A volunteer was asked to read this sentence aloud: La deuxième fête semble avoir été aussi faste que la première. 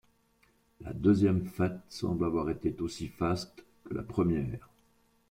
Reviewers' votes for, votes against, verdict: 1, 2, rejected